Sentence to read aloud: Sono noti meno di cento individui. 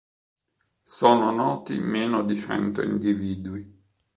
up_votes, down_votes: 1, 2